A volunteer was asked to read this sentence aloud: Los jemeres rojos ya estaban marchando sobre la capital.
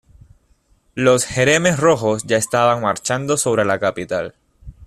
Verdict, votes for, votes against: rejected, 1, 2